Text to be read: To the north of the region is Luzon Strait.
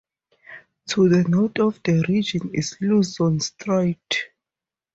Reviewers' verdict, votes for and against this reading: accepted, 4, 0